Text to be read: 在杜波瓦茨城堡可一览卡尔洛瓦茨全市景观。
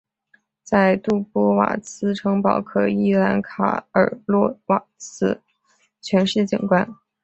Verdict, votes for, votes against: accepted, 5, 0